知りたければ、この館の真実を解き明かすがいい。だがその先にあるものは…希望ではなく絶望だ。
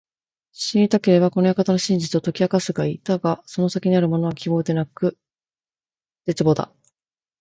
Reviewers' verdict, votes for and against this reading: rejected, 1, 2